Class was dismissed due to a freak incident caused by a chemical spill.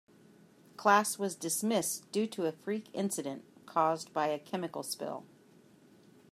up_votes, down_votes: 2, 0